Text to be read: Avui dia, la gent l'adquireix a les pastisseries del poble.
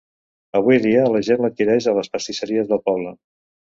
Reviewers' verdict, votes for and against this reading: accepted, 2, 0